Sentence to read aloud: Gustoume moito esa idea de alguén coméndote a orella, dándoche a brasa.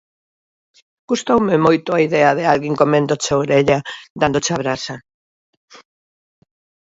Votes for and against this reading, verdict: 0, 2, rejected